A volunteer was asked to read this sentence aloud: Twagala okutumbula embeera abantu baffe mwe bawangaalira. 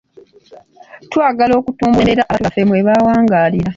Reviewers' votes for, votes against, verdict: 1, 2, rejected